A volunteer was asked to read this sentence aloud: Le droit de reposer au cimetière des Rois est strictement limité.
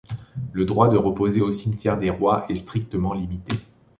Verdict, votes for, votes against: accepted, 2, 0